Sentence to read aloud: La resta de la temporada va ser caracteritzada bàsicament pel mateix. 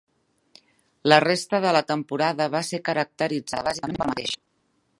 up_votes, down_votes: 0, 2